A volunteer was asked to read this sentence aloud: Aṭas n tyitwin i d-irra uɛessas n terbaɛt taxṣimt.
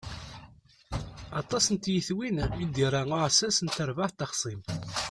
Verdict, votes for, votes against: rejected, 0, 2